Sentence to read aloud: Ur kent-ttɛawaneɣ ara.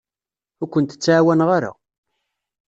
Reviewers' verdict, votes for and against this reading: accepted, 2, 0